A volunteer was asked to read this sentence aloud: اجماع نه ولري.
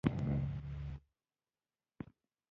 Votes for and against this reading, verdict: 0, 2, rejected